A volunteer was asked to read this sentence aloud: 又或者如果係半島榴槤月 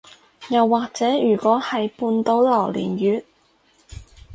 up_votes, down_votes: 2, 0